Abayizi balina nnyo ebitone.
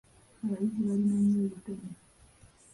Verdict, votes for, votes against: rejected, 1, 2